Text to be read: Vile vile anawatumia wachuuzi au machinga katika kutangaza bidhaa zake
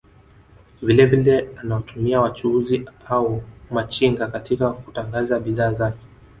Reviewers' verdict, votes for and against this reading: accepted, 2, 0